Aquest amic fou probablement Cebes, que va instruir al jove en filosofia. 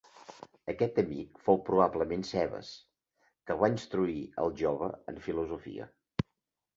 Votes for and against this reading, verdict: 2, 0, accepted